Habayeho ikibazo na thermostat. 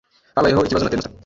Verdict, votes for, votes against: rejected, 1, 2